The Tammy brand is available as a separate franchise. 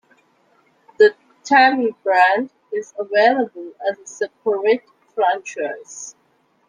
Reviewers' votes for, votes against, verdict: 1, 2, rejected